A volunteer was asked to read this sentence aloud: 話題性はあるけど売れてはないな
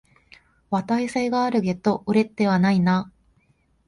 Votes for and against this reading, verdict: 3, 4, rejected